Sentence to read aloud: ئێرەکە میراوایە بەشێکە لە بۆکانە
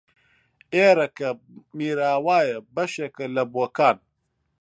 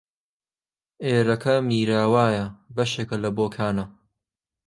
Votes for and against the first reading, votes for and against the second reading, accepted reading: 0, 2, 2, 0, second